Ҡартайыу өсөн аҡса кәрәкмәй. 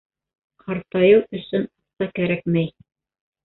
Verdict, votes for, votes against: rejected, 1, 2